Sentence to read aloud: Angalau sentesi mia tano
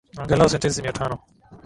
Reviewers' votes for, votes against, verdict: 19, 2, accepted